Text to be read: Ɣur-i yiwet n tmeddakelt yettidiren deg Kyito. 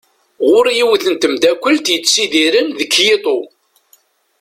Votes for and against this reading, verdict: 2, 0, accepted